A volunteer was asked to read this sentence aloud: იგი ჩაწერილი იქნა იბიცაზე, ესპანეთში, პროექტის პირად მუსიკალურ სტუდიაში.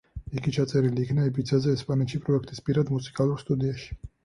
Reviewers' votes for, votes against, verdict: 4, 0, accepted